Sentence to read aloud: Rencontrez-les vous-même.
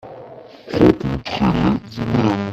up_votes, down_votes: 1, 2